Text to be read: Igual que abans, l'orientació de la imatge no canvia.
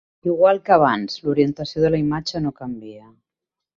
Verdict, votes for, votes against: accepted, 2, 0